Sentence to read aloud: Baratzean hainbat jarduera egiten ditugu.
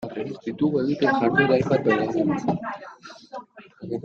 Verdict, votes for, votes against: rejected, 0, 2